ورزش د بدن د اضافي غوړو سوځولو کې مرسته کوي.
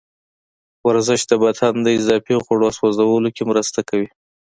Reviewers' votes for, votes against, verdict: 3, 0, accepted